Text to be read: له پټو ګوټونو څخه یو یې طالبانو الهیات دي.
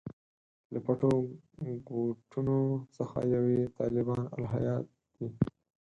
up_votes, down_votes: 0, 4